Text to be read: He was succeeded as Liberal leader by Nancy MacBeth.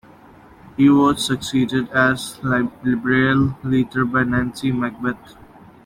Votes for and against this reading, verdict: 0, 2, rejected